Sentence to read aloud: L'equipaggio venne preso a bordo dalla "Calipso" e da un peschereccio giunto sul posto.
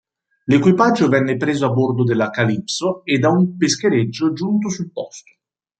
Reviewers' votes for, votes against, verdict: 2, 0, accepted